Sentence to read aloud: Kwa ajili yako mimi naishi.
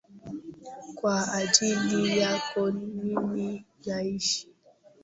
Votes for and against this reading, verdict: 0, 2, rejected